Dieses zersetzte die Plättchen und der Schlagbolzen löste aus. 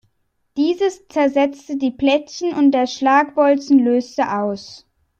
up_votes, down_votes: 2, 0